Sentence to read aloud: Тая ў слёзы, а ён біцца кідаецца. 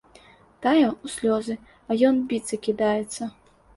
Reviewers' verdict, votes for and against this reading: accepted, 2, 0